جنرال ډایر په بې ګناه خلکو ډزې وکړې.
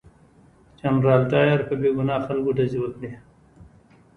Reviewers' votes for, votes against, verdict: 2, 1, accepted